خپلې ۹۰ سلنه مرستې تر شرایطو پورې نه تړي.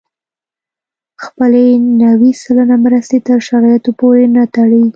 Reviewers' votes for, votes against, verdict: 0, 2, rejected